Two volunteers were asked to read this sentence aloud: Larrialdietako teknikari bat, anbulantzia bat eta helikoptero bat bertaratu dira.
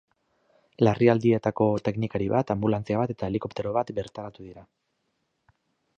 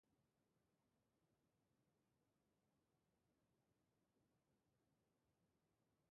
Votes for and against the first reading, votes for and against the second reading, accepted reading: 2, 0, 0, 3, first